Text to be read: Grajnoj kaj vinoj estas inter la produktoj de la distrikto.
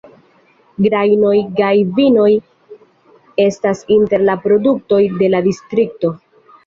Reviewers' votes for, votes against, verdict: 2, 0, accepted